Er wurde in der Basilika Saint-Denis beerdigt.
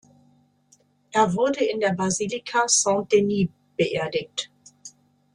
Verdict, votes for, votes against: accepted, 2, 0